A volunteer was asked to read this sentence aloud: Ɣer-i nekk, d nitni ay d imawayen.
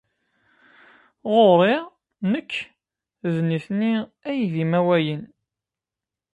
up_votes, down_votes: 0, 2